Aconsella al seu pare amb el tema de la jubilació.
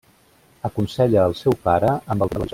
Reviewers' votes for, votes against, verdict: 0, 2, rejected